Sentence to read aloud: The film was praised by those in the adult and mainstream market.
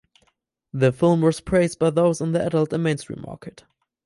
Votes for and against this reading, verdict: 2, 2, rejected